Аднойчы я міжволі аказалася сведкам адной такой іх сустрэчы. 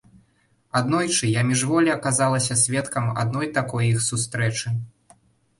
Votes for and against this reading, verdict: 2, 0, accepted